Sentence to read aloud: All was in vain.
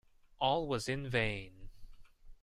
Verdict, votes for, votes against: accepted, 2, 0